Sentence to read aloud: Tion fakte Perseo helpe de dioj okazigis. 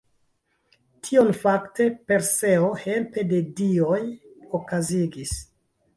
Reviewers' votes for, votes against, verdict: 1, 2, rejected